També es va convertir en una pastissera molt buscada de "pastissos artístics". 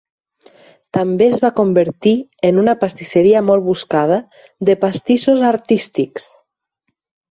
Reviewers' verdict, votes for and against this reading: rejected, 0, 6